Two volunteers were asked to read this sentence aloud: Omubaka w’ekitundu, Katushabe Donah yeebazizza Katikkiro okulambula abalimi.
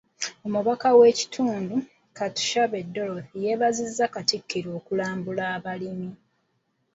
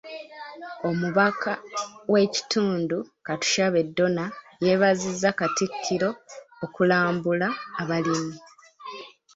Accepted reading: second